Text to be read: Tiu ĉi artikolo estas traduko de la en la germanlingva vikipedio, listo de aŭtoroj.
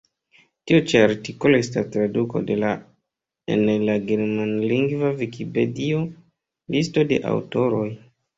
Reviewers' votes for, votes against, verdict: 1, 2, rejected